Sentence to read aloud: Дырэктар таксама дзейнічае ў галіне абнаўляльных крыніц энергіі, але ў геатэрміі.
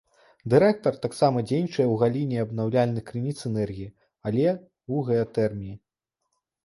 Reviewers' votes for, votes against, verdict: 0, 2, rejected